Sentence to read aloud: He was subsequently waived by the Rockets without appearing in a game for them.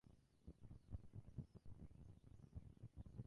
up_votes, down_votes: 0, 2